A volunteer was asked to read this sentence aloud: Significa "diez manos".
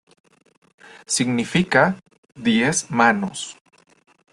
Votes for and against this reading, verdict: 2, 0, accepted